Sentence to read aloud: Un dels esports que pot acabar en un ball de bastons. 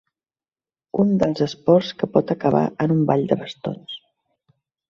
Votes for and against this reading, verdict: 3, 0, accepted